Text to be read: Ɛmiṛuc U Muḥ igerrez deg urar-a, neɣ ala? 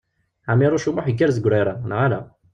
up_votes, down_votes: 1, 2